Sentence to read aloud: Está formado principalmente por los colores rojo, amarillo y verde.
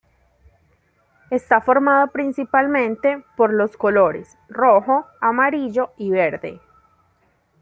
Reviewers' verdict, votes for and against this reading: accepted, 2, 0